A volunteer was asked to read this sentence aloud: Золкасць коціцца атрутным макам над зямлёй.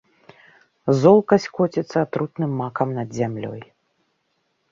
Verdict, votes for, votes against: accepted, 2, 0